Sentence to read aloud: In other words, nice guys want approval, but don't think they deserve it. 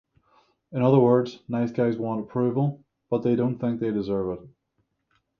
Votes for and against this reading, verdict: 0, 6, rejected